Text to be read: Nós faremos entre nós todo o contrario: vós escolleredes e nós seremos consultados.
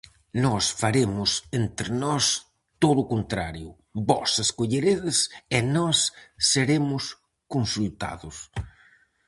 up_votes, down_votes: 4, 0